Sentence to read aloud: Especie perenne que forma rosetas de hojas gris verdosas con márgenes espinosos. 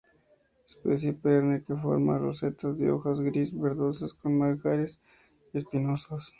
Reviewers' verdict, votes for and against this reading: rejected, 0, 2